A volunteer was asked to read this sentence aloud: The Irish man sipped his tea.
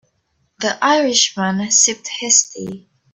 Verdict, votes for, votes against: accepted, 3, 0